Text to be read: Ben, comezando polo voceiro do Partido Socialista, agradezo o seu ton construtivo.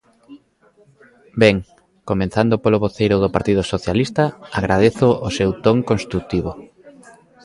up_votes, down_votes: 0, 3